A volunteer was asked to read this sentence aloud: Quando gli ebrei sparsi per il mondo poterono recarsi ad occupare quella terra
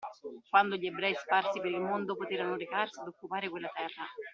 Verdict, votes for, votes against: accepted, 2, 0